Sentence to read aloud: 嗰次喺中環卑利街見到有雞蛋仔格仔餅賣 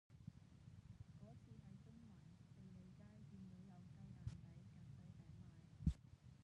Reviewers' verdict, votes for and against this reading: rejected, 0, 2